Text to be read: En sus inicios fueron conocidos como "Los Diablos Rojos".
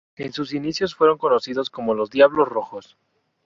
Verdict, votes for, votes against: accepted, 4, 0